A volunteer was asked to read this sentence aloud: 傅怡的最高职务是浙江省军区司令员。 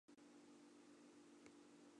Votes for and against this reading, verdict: 0, 2, rejected